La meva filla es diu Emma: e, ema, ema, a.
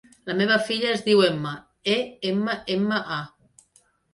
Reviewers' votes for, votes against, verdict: 3, 0, accepted